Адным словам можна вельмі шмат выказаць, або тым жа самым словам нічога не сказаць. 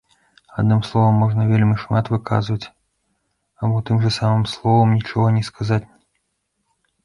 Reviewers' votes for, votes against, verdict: 0, 2, rejected